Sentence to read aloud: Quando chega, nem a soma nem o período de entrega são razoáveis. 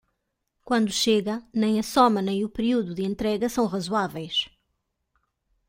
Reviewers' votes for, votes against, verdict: 1, 2, rejected